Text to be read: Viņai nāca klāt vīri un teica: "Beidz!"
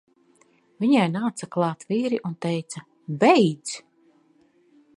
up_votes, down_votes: 2, 0